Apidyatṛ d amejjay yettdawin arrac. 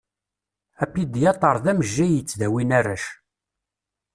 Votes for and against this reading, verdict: 2, 0, accepted